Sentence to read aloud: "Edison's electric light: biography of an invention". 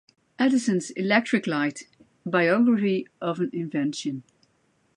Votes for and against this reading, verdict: 2, 0, accepted